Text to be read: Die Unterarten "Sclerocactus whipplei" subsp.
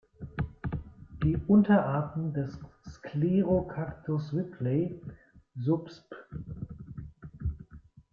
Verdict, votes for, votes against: rejected, 0, 2